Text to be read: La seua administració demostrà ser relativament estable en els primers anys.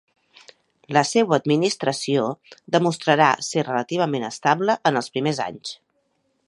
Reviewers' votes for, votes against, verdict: 1, 2, rejected